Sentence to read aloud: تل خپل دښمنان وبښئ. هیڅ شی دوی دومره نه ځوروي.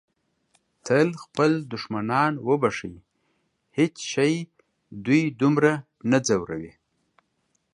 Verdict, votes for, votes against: accepted, 2, 0